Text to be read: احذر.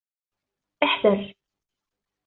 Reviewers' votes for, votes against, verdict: 2, 0, accepted